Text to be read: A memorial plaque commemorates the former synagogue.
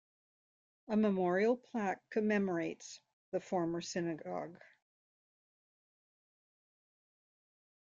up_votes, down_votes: 2, 0